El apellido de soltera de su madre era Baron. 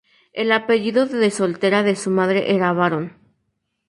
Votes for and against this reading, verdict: 2, 0, accepted